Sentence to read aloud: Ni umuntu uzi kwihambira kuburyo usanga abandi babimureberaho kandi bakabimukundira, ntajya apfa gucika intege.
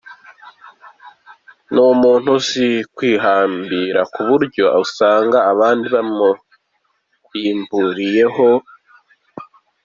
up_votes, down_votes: 1, 2